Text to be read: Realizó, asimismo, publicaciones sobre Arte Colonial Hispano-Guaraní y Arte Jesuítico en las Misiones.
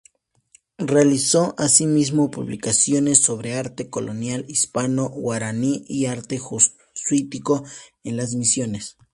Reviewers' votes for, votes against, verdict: 0, 2, rejected